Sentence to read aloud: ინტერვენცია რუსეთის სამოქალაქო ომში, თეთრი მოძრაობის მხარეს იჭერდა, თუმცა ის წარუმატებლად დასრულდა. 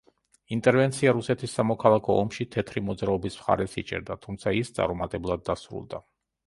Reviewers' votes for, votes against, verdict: 3, 0, accepted